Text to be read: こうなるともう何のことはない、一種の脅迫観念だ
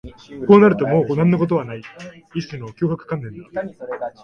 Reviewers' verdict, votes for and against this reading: rejected, 0, 2